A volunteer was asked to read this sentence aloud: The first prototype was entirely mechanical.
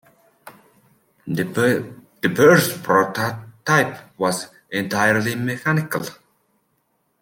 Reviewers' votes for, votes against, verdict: 0, 2, rejected